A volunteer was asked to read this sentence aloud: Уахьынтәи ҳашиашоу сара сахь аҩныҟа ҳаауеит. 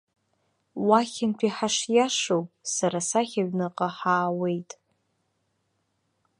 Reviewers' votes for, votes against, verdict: 2, 0, accepted